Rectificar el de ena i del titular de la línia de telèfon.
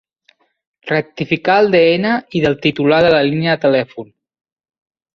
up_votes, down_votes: 2, 0